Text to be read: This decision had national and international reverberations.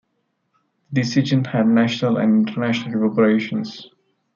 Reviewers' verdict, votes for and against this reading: rejected, 0, 2